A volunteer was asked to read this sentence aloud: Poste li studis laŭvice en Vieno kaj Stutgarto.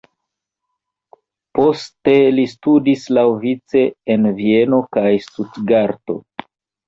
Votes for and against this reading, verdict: 2, 1, accepted